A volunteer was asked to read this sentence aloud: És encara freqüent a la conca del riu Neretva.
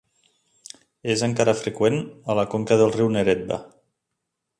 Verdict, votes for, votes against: accepted, 4, 0